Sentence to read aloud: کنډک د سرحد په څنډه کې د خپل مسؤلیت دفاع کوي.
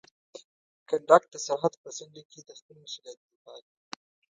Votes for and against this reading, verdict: 1, 2, rejected